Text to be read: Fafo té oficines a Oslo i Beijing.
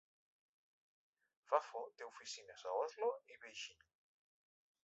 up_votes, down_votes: 3, 1